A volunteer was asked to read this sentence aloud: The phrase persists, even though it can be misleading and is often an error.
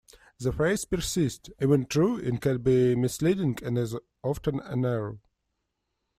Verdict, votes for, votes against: rejected, 0, 2